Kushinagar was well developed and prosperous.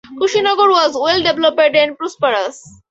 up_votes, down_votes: 2, 0